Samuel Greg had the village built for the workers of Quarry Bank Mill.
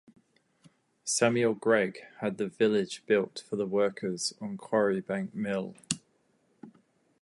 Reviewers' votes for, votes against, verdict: 2, 2, rejected